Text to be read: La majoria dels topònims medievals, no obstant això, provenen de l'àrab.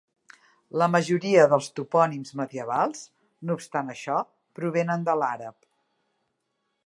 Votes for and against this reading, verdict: 2, 0, accepted